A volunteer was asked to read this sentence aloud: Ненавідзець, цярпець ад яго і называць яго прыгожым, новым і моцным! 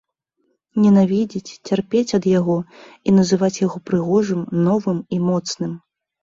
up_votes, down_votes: 2, 0